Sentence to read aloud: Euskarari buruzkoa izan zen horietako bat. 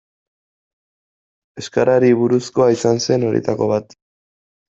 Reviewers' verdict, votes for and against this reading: accepted, 2, 0